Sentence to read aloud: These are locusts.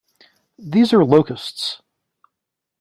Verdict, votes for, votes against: accepted, 2, 0